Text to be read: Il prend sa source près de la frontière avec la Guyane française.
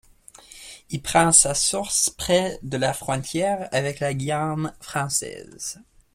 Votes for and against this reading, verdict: 2, 0, accepted